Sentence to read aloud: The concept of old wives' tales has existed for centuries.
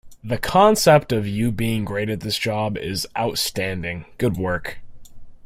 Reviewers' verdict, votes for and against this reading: rejected, 0, 2